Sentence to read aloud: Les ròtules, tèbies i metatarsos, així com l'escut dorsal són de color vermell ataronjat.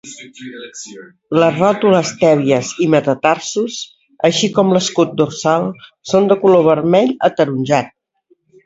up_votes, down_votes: 1, 2